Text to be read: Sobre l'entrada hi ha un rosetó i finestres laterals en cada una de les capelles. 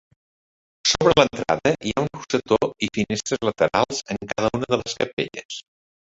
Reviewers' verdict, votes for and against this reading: rejected, 0, 2